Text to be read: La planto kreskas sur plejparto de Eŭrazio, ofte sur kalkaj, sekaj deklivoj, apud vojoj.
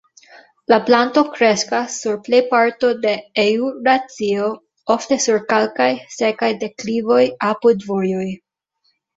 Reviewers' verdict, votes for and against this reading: rejected, 0, 2